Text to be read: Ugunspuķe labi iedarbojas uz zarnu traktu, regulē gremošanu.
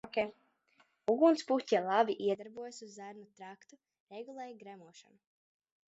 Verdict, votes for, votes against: rejected, 1, 2